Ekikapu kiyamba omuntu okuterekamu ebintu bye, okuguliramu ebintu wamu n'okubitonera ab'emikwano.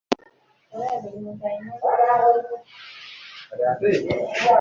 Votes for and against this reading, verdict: 0, 2, rejected